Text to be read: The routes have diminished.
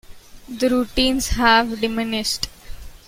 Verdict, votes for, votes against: rejected, 0, 2